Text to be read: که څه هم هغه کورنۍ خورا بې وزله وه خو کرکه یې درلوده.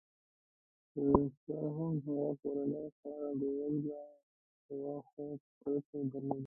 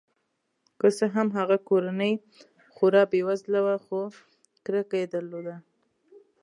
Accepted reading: second